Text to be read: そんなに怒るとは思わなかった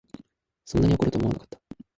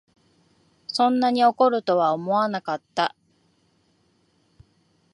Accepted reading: second